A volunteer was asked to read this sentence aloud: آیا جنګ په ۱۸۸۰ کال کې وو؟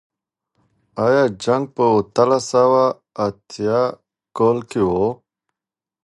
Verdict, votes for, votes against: rejected, 0, 2